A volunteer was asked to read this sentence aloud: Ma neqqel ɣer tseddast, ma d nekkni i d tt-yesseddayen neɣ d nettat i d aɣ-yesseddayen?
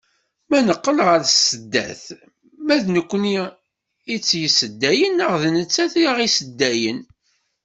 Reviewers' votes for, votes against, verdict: 1, 2, rejected